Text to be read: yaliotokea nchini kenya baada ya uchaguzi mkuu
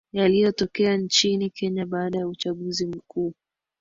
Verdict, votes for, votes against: rejected, 1, 2